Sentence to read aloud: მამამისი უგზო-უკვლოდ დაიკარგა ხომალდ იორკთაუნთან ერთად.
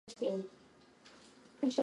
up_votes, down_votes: 0, 2